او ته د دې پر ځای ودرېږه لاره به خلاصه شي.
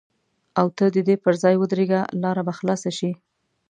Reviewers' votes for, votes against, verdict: 2, 0, accepted